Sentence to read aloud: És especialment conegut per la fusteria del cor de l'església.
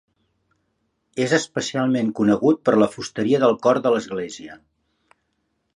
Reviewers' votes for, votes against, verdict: 3, 0, accepted